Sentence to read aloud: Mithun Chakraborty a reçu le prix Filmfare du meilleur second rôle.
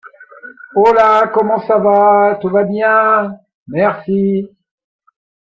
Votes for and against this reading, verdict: 0, 2, rejected